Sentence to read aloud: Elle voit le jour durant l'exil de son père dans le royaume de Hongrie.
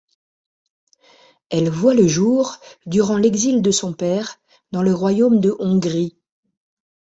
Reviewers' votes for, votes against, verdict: 1, 2, rejected